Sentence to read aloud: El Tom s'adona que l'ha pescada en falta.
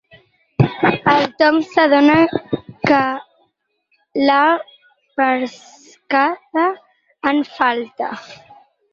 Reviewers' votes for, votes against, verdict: 4, 6, rejected